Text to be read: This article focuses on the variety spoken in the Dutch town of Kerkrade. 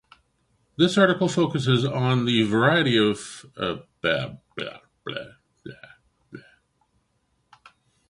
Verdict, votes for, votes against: rejected, 0, 2